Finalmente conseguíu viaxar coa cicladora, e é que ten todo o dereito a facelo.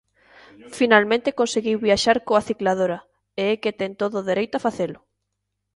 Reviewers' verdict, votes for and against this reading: accepted, 2, 0